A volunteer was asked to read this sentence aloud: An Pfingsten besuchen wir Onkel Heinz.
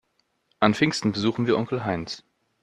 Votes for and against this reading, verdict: 2, 0, accepted